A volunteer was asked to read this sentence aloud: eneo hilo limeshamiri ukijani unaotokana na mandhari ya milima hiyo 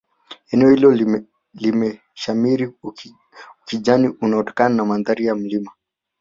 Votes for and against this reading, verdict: 0, 2, rejected